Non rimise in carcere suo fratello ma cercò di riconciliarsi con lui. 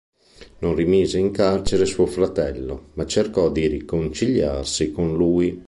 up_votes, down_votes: 2, 0